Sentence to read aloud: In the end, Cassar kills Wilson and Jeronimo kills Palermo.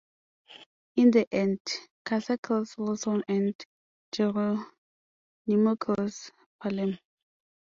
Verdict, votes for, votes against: rejected, 1, 2